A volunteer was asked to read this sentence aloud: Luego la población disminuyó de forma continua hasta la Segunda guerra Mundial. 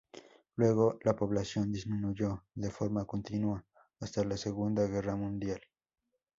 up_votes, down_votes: 4, 0